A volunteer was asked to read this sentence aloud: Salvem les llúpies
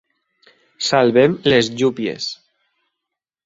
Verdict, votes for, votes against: accepted, 4, 0